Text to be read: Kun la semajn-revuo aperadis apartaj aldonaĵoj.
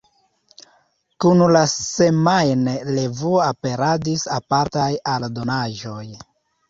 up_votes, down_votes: 2, 1